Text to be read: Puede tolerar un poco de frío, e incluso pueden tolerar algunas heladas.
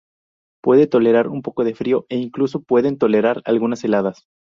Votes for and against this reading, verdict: 0, 2, rejected